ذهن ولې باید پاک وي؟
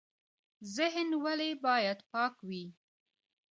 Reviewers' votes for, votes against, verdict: 2, 1, accepted